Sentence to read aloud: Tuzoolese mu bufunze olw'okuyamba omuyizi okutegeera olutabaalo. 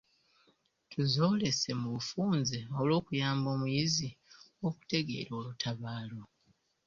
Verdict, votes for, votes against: accepted, 2, 1